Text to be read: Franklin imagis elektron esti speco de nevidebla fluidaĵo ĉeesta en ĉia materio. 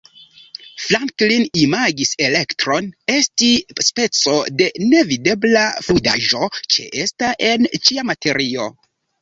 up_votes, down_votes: 1, 2